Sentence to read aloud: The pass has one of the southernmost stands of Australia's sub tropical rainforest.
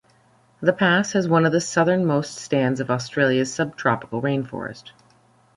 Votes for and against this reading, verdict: 2, 0, accepted